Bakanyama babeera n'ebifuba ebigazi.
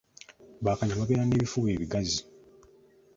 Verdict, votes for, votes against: accepted, 2, 0